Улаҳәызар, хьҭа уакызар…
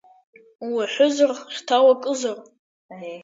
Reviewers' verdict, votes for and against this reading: rejected, 1, 2